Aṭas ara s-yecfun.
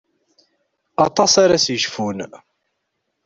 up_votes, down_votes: 2, 0